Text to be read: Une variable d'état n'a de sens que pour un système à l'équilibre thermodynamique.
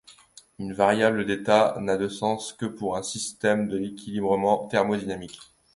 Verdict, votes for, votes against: rejected, 0, 2